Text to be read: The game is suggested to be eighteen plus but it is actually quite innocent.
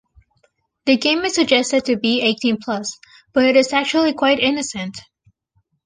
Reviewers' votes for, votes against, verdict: 2, 1, accepted